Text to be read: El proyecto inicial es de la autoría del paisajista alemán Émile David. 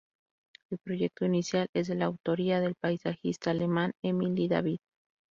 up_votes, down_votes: 2, 0